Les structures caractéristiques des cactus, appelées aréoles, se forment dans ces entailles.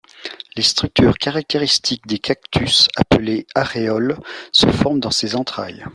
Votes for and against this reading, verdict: 1, 2, rejected